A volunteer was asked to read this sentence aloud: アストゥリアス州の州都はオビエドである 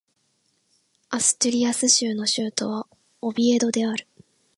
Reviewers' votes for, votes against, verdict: 3, 0, accepted